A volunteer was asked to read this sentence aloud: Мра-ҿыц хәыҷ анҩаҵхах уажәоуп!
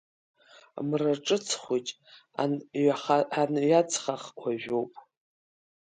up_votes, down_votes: 0, 3